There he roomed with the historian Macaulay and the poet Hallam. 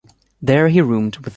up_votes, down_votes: 0, 2